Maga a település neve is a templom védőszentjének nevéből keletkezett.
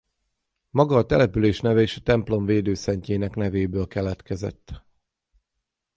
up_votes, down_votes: 0, 6